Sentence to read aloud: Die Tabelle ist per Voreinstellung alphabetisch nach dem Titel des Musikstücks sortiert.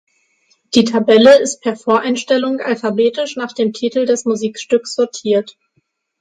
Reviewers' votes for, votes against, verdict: 6, 0, accepted